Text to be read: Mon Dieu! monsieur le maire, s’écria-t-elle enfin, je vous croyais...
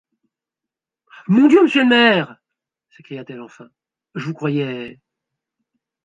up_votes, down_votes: 1, 2